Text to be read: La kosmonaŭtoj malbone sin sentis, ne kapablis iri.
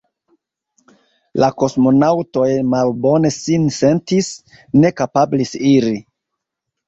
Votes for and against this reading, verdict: 3, 0, accepted